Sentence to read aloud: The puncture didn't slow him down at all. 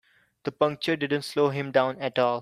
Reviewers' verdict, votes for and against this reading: accepted, 2, 0